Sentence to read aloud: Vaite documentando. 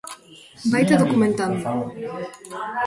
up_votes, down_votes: 0, 2